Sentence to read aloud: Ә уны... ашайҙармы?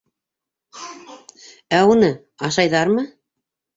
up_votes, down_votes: 0, 2